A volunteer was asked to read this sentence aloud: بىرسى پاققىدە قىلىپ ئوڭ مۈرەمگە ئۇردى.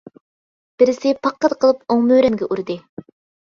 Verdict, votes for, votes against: rejected, 0, 2